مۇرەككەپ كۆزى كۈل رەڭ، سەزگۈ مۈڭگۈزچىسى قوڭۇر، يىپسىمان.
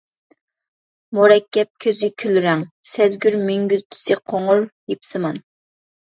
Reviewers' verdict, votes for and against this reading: rejected, 0, 2